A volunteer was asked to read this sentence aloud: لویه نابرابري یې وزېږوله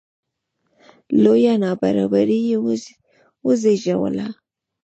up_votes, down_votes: 1, 2